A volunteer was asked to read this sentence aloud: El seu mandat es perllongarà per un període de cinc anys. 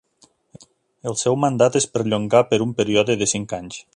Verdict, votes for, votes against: rejected, 0, 2